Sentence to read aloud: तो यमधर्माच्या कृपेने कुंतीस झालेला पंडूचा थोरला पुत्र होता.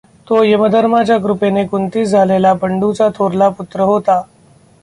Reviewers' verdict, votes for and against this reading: rejected, 1, 2